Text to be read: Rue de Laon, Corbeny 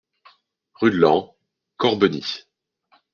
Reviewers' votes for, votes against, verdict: 2, 0, accepted